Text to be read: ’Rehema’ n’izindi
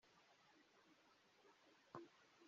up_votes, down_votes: 0, 2